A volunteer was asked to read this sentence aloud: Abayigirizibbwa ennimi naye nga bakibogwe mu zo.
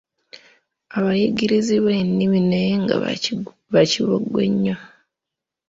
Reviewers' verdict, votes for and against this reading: rejected, 1, 2